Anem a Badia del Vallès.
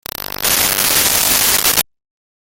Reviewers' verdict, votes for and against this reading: rejected, 0, 2